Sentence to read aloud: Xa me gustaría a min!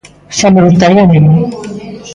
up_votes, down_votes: 0, 2